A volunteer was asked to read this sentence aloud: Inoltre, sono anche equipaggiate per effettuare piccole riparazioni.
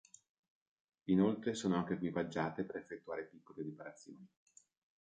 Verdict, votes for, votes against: rejected, 1, 2